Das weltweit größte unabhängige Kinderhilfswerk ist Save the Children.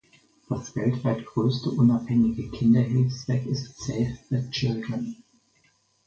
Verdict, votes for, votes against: accepted, 4, 0